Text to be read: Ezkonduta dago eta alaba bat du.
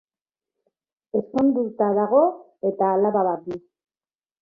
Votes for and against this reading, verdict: 2, 0, accepted